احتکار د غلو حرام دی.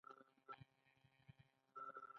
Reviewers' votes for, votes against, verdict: 1, 2, rejected